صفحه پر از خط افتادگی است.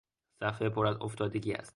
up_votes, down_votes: 2, 0